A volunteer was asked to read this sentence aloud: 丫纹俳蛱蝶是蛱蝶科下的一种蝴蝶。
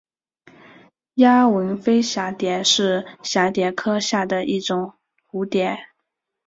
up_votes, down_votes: 6, 0